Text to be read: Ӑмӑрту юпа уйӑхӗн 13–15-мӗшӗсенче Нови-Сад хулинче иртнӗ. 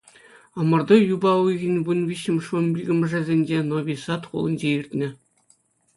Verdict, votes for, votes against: rejected, 0, 2